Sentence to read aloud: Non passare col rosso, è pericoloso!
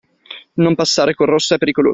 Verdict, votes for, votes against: rejected, 0, 2